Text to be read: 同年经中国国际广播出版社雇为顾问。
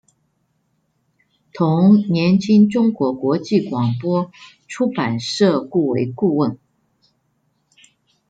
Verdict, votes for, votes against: rejected, 0, 2